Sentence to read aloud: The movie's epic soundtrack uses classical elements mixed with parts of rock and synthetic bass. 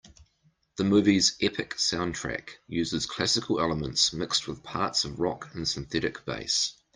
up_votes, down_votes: 2, 0